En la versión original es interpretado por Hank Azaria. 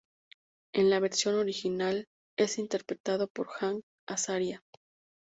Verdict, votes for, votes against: accepted, 2, 0